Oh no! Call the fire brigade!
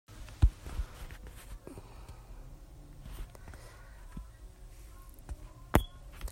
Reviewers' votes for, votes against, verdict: 0, 2, rejected